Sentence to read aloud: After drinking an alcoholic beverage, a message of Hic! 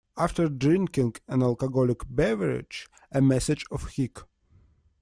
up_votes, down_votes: 2, 0